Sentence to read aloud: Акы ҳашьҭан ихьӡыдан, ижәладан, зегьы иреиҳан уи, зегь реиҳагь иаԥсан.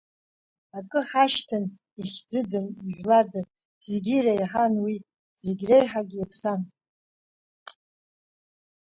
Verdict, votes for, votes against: accepted, 3, 1